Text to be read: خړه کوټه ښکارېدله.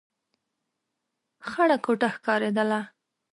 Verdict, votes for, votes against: accepted, 5, 0